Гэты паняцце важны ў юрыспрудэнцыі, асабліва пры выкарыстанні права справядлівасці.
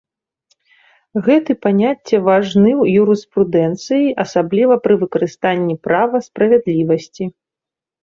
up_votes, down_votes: 2, 0